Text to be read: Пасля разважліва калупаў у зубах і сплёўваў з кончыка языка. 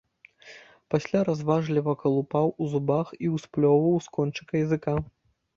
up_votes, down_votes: 1, 2